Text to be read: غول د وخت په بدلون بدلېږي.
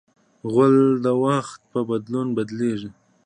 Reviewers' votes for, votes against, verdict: 2, 0, accepted